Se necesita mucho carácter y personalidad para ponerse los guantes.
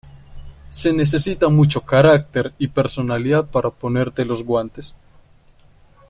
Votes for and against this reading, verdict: 0, 2, rejected